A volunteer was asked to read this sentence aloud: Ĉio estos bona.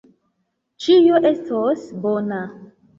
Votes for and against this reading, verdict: 2, 0, accepted